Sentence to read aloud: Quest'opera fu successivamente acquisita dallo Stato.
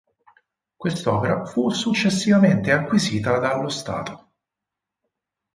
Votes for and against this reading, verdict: 6, 0, accepted